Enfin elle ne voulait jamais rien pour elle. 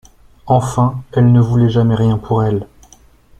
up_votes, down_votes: 2, 0